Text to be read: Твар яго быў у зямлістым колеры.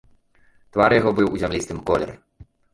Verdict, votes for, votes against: rejected, 1, 2